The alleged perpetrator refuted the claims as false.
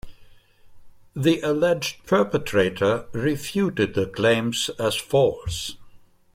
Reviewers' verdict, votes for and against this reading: accepted, 2, 0